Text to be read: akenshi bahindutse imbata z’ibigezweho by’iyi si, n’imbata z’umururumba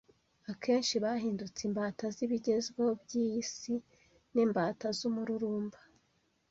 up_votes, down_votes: 2, 1